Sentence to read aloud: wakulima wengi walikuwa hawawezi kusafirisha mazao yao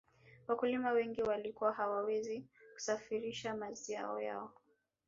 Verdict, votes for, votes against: accepted, 2, 1